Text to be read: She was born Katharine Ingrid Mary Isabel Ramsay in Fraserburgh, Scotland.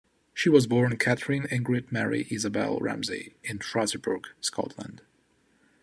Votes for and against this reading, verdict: 2, 0, accepted